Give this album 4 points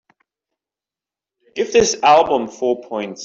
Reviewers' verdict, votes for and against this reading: rejected, 0, 2